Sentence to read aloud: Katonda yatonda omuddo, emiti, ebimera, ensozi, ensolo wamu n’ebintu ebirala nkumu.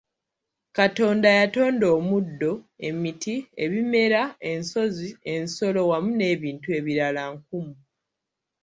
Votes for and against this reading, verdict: 0, 2, rejected